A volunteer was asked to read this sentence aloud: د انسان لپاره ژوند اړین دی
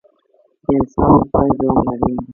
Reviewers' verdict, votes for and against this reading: rejected, 0, 2